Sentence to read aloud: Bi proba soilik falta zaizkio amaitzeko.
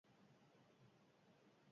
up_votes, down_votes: 0, 4